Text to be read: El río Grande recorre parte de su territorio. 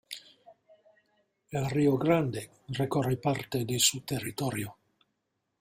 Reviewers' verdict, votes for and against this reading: rejected, 1, 2